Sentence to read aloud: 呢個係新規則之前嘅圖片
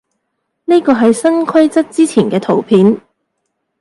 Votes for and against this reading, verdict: 2, 0, accepted